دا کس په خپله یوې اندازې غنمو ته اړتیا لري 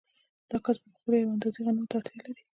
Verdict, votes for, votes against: accepted, 2, 1